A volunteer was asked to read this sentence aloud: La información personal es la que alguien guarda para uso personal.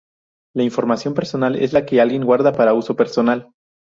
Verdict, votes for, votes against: accepted, 2, 0